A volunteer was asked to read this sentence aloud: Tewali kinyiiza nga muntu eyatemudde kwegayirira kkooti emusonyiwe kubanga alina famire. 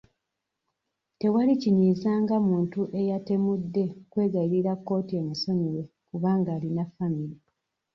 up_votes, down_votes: 2, 0